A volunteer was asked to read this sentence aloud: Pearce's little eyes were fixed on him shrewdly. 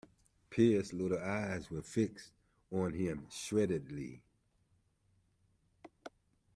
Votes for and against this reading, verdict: 1, 2, rejected